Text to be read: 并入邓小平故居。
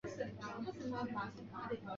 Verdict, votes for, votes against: rejected, 0, 4